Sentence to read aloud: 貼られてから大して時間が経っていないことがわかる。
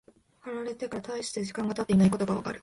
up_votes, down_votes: 0, 2